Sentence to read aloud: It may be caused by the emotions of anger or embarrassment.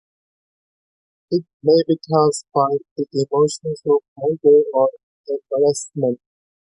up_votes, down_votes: 1, 2